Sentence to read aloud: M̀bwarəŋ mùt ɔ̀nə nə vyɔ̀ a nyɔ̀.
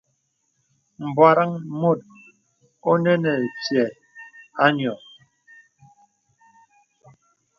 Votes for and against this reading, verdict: 2, 0, accepted